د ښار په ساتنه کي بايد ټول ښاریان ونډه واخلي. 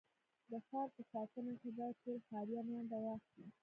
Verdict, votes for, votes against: rejected, 1, 2